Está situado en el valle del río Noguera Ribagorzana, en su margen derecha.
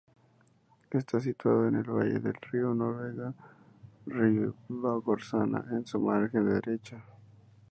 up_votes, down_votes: 0, 2